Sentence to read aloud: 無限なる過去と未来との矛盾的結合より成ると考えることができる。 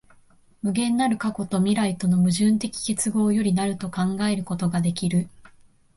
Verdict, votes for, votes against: accepted, 2, 0